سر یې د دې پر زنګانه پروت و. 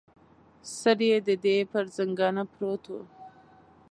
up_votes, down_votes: 2, 0